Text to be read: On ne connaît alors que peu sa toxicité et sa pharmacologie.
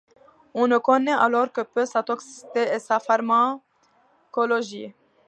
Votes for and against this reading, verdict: 2, 0, accepted